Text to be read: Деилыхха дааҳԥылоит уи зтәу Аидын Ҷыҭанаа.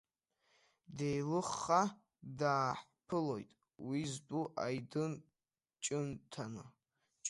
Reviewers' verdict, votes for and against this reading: rejected, 1, 2